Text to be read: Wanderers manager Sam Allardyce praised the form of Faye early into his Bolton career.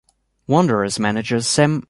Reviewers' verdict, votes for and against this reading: rejected, 1, 2